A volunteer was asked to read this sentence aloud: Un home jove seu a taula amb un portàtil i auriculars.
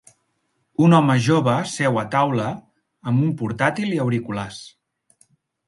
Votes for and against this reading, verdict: 3, 0, accepted